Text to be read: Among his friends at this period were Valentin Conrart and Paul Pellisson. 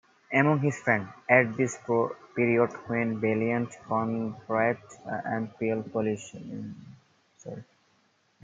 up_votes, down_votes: 0, 2